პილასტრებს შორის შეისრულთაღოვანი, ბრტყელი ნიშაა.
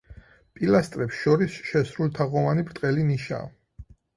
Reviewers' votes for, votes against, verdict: 2, 4, rejected